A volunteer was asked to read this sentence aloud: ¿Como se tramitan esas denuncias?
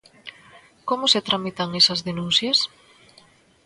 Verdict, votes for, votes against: accepted, 2, 0